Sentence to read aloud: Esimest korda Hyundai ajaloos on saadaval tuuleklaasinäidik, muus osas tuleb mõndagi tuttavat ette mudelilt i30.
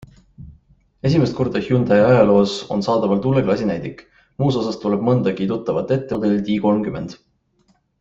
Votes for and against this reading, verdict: 0, 2, rejected